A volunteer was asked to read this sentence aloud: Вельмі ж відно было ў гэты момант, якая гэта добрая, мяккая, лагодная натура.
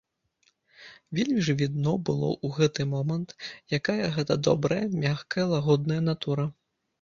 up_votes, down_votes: 1, 2